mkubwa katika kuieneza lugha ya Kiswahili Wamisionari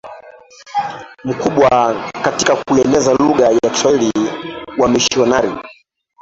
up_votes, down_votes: 0, 2